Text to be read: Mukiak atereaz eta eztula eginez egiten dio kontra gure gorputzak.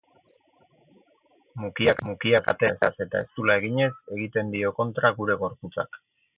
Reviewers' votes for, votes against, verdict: 0, 4, rejected